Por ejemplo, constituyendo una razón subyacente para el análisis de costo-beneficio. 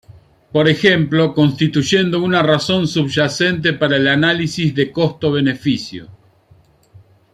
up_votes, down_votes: 2, 0